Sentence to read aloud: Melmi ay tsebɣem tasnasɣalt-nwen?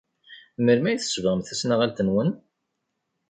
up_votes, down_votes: 1, 2